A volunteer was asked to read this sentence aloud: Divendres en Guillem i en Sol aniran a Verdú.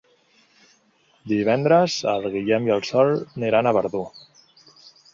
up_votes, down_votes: 0, 4